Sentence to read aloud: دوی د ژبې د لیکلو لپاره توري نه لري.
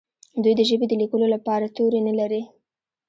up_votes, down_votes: 2, 0